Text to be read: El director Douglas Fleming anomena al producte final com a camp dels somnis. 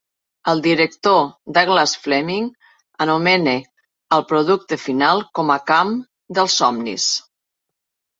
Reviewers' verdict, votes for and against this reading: accepted, 3, 0